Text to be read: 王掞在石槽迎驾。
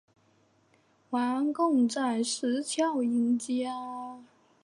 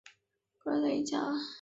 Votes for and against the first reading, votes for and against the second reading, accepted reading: 0, 2, 2, 0, second